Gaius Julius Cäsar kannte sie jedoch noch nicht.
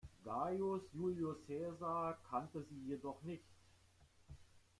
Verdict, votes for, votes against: rejected, 1, 2